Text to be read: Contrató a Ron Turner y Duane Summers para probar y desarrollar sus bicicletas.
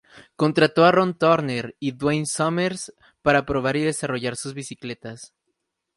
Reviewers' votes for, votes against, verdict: 0, 2, rejected